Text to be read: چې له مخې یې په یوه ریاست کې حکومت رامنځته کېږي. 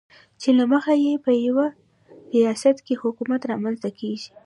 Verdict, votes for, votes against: accepted, 2, 0